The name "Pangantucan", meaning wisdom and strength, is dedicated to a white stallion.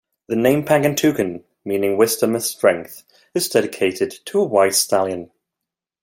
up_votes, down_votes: 2, 0